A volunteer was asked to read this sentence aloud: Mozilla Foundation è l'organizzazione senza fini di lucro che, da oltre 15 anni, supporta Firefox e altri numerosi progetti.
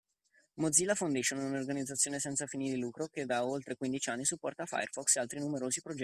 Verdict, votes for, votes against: rejected, 0, 2